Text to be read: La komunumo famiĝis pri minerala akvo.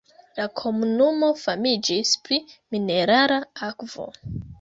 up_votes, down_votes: 0, 2